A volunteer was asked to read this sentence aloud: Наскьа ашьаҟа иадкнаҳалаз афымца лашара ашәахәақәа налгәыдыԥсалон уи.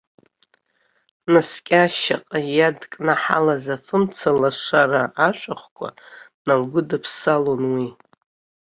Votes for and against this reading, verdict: 1, 2, rejected